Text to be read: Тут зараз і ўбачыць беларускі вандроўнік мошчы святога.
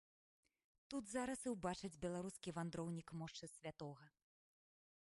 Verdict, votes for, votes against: accepted, 3, 2